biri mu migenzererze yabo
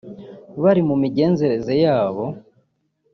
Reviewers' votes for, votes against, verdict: 1, 2, rejected